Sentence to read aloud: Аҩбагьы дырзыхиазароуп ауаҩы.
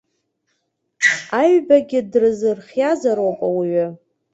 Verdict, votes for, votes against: accepted, 2, 1